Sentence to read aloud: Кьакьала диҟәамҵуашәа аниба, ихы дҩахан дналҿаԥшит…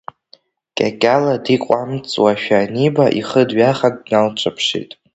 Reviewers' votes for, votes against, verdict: 0, 2, rejected